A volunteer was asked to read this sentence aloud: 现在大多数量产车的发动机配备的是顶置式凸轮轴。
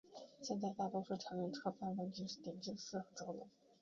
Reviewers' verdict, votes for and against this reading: rejected, 1, 2